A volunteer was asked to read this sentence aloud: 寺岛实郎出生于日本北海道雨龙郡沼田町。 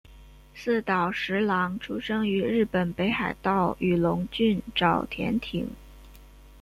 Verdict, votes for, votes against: rejected, 1, 2